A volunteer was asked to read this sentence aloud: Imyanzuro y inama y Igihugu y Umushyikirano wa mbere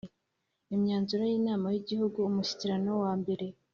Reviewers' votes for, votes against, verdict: 2, 0, accepted